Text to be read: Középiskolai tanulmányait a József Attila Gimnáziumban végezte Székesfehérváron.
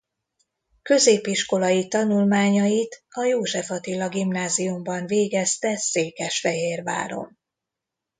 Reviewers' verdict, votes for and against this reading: accepted, 2, 0